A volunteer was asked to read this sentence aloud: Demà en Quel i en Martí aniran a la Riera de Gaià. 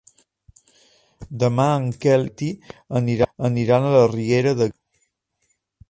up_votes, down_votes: 0, 2